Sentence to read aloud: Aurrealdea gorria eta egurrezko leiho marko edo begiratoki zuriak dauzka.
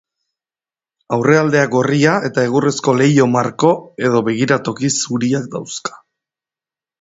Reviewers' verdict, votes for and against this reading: rejected, 1, 2